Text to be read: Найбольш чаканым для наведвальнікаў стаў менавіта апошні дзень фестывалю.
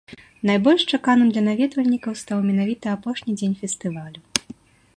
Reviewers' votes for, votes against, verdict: 2, 0, accepted